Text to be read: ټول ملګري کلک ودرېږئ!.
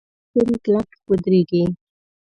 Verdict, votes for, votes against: rejected, 0, 2